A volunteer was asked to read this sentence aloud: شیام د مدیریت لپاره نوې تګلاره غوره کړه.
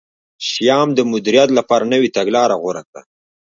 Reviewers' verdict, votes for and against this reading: rejected, 1, 2